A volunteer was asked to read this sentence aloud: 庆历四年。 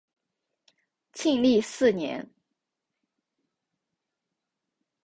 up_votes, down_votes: 3, 0